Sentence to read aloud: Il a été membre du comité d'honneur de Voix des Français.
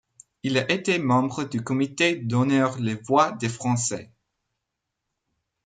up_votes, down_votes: 0, 2